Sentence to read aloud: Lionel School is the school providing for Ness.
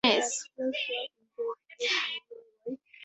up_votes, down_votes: 0, 4